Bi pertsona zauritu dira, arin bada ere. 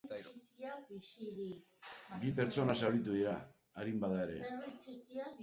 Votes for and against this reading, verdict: 1, 2, rejected